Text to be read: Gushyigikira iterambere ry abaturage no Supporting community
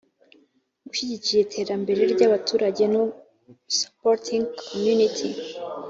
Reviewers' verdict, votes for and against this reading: accepted, 2, 0